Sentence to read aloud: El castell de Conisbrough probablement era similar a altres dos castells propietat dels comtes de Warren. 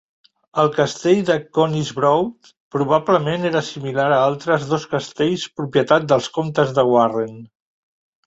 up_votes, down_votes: 3, 0